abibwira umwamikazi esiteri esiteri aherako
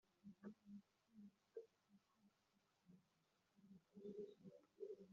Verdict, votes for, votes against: rejected, 0, 2